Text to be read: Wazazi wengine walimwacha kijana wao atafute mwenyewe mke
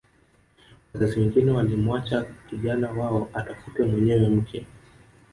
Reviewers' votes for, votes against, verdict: 1, 2, rejected